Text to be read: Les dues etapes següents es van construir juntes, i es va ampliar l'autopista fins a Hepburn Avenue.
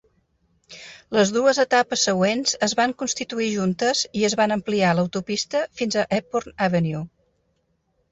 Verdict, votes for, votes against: rejected, 1, 2